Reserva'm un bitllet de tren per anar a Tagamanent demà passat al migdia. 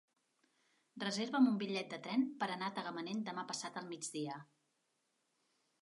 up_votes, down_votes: 4, 2